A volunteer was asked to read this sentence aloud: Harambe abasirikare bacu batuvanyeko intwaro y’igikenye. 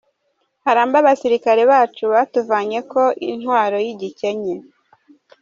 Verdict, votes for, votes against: accepted, 2, 1